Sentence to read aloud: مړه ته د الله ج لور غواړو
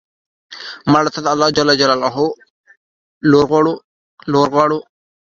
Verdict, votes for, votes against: accepted, 2, 0